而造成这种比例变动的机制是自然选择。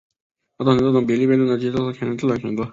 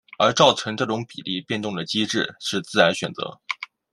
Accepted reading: second